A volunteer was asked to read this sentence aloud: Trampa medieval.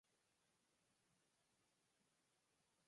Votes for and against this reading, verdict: 0, 4, rejected